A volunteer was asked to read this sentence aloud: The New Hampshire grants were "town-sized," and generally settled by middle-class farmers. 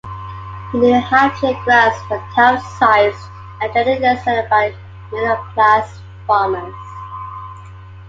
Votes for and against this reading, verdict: 2, 1, accepted